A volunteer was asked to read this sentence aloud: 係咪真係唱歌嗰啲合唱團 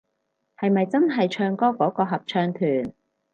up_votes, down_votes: 2, 4